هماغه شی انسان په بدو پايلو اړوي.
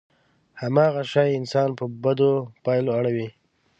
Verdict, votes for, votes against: accepted, 2, 0